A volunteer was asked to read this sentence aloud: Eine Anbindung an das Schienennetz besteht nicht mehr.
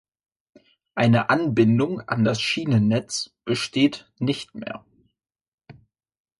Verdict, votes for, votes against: accepted, 2, 0